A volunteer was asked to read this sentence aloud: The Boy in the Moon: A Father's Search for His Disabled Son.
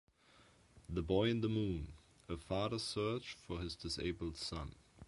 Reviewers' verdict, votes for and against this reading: accepted, 2, 0